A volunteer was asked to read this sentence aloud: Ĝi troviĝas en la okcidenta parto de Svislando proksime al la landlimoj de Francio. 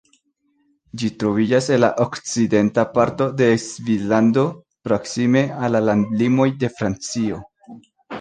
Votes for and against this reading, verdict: 1, 2, rejected